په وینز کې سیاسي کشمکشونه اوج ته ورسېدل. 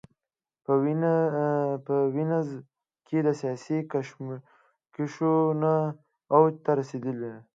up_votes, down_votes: 0, 2